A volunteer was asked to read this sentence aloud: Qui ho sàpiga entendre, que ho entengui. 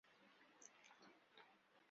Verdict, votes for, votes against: rejected, 0, 2